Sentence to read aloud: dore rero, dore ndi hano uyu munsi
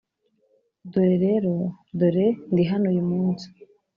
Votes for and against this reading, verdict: 2, 0, accepted